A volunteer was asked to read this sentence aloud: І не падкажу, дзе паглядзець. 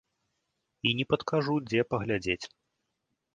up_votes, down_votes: 2, 0